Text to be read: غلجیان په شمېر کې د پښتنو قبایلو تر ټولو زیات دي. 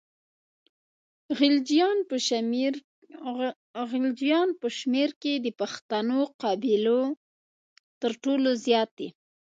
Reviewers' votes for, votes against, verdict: 0, 2, rejected